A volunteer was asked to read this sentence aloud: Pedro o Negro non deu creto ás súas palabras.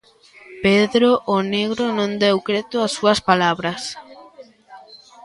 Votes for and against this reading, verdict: 2, 0, accepted